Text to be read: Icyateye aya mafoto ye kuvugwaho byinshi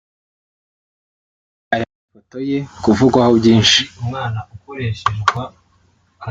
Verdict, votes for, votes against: rejected, 0, 2